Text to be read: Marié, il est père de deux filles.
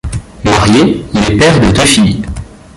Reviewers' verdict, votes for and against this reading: rejected, 0, 2